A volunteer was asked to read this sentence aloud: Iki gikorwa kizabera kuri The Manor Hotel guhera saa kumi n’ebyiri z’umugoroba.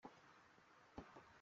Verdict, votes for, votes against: rejected, 0, 2